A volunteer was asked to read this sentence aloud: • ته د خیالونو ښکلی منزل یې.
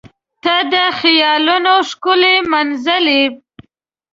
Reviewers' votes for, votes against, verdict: 0, 2, rejected